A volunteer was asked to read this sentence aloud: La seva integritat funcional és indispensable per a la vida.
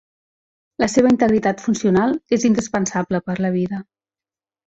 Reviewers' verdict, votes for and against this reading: rejected, 1, 2